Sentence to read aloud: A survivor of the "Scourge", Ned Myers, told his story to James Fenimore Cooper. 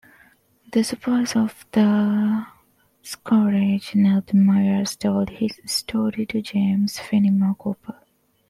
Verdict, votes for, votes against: rejected, 1, 2